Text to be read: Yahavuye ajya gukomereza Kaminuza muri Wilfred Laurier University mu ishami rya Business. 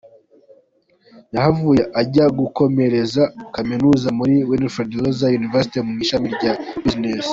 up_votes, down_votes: 2, 1